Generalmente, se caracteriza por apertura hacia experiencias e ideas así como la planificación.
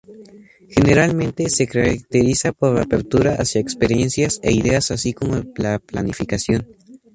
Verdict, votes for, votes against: accepted, 2, 0